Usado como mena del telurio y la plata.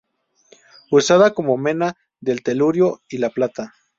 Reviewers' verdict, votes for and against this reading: rejected, 0, 2